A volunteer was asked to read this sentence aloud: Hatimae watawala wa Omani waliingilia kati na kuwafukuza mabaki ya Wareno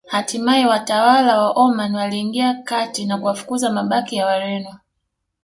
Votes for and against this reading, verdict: 0, 2, rejected